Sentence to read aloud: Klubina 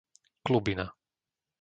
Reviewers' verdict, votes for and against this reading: accepted, 2, 0